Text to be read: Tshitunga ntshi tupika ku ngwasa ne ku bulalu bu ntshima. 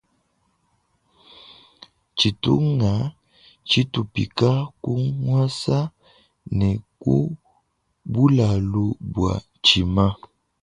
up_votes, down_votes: 1, 3